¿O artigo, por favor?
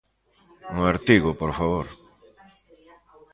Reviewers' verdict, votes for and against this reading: rejected, 1, 2